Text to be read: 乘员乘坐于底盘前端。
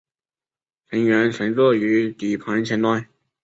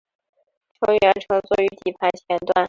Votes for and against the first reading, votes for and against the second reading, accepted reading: 2, 0, 1, 2, first